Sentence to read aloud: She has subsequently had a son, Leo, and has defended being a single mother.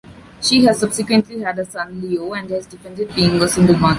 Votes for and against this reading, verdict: 0, 2, rejected